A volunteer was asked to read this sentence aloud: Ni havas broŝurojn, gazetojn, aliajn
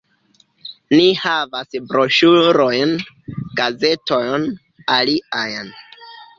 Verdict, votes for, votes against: rejected, 0, 2